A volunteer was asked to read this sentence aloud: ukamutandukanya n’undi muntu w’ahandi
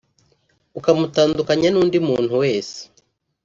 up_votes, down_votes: 1, 2